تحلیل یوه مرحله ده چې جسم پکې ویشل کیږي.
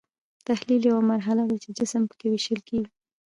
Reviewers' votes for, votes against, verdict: 0, 2, rejected